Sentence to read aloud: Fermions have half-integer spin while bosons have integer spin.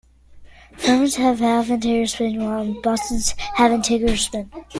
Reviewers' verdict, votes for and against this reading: rejected, 0, 2